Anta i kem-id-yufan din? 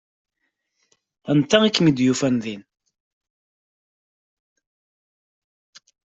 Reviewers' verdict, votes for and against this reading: accepted, 2, 0